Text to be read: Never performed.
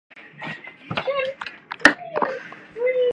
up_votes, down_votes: 0, 2